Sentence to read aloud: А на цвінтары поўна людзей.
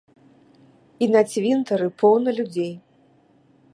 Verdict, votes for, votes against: rejected, 0, 2